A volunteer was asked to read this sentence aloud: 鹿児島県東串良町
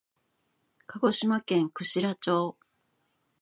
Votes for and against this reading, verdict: 1, 2, rejected